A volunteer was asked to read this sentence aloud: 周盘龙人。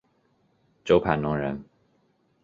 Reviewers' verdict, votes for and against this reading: accepted, 2, 0